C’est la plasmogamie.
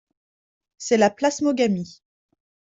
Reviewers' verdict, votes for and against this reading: accepted, 2, 0